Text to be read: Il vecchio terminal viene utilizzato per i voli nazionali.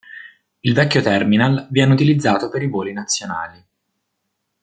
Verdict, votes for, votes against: accepted, 2, 0